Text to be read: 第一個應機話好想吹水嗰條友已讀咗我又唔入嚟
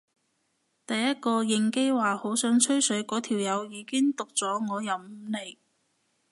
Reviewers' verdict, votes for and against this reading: rejected, 0, 2